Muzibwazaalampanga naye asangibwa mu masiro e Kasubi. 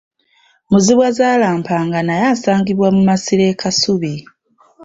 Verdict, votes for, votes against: rejected, 0, 2